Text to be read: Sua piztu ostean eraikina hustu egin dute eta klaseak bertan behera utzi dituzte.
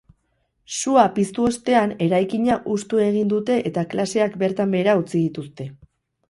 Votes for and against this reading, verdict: 4, 0, accepted